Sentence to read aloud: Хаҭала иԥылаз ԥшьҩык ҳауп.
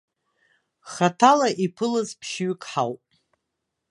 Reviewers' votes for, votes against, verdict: 2, 0, accepted